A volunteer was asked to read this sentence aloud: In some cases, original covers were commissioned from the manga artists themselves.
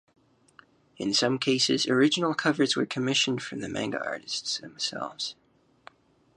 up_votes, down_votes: 0, 2